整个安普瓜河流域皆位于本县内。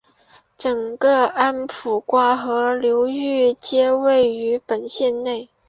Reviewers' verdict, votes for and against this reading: accepted, 2, 0